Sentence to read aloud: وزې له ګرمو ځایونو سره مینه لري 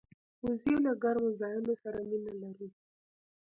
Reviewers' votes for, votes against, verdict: 1, 2, rejected